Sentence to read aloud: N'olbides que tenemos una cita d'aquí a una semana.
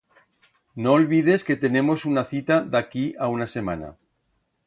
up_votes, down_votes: 2, 0